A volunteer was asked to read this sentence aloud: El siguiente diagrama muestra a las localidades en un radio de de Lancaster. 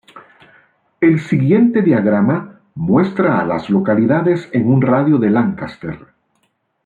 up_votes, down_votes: 0, 2